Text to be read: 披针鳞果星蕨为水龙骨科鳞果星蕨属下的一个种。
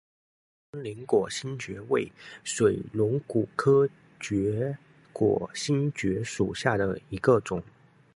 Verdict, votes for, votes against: rejected, 0, 2